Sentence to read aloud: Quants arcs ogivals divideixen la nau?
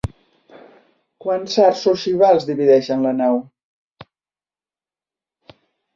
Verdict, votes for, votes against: accepted, 3, 0